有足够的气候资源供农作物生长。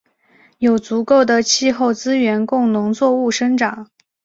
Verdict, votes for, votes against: accepted, 5, 0